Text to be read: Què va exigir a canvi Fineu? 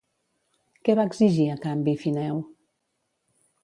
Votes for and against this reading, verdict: 2, 0, accepted